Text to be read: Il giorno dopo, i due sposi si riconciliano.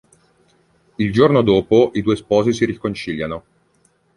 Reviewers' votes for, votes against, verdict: 2, 0, accepted